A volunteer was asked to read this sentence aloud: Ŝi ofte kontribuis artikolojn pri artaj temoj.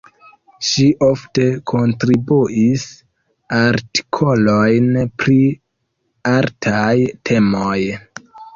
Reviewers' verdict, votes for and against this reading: rejected, 0, 2